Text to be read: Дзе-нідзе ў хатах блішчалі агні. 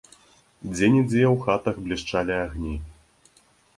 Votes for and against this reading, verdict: 2, 0, accepted